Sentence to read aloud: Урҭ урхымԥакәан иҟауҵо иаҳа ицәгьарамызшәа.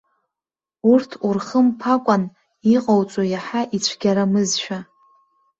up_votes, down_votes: 1, 2